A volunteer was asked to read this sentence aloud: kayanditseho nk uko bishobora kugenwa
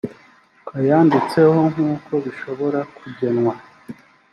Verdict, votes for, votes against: accepted, 2, 0